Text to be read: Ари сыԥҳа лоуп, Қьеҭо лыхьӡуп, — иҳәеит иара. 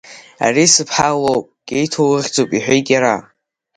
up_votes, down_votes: 5, 0